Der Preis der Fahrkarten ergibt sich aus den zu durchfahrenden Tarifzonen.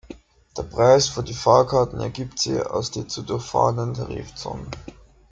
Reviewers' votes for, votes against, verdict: 0, 2, rejected